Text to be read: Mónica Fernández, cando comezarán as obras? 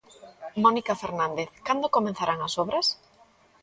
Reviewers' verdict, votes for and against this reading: accepted, 2, 0